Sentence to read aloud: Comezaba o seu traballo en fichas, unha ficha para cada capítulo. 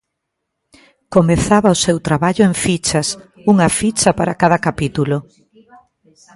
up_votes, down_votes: 2, 0